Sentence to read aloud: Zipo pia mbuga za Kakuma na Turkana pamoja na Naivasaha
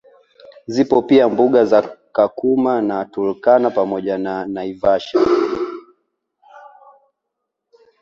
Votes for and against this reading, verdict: 2, 1, accepted